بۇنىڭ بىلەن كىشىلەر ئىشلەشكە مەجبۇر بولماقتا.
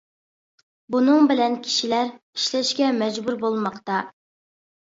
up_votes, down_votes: 2, 0